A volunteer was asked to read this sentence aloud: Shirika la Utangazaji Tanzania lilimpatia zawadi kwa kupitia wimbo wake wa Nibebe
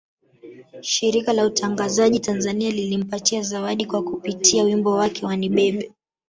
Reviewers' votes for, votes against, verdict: 1, 2, rejected